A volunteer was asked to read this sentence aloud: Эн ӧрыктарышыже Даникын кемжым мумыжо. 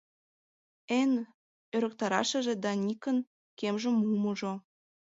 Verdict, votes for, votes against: rejected, 1, 2